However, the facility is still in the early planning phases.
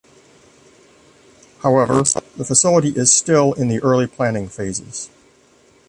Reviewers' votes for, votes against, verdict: 2, 1, accepted